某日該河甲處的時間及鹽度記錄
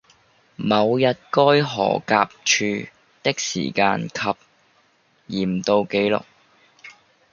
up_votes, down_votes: 0, 2